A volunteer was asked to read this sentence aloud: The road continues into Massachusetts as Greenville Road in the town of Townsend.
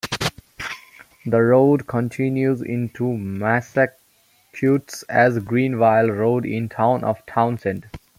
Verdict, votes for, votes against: rejected, 1, 2